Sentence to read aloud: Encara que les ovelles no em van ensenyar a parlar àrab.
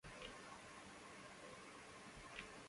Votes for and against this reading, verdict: 0, 2, rejected